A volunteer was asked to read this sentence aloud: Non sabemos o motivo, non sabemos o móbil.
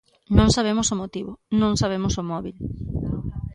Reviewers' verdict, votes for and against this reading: accepted, 2, 0